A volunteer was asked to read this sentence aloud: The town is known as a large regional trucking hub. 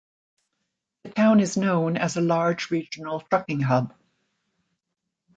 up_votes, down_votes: 2, 0